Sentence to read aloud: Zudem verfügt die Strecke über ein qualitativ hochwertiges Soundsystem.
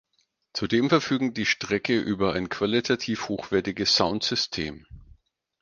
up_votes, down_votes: 0, 4